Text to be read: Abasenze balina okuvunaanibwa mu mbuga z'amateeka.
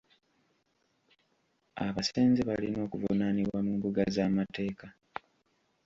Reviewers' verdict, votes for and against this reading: accepted, 2, 1